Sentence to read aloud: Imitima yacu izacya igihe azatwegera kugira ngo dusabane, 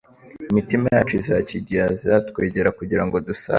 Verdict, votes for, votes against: rejected, 1, 2